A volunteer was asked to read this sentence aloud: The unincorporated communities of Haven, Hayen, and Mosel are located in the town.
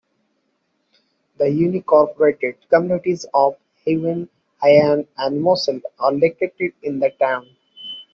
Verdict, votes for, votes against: accepted, 2, 1